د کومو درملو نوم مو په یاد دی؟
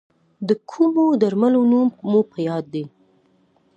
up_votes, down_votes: 2, 1